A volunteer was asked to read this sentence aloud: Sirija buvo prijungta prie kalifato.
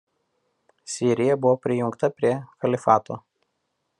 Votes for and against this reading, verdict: 2, 1, accepted